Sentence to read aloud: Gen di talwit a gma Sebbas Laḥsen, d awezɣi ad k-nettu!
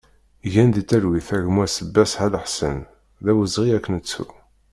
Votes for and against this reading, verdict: 1, 2, rejected